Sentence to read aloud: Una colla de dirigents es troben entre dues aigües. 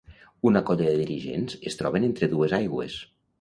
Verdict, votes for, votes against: accepted, 2, 0